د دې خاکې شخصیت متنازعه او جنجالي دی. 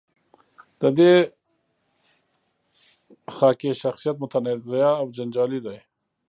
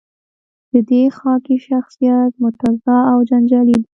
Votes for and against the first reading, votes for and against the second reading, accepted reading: 1, 2, 2, 0, second